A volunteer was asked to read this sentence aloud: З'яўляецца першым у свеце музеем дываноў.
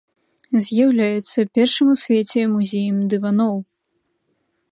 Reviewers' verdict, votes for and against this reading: accepted, 2, 1